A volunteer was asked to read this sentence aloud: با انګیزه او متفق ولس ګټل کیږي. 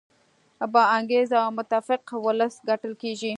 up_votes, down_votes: 2, 0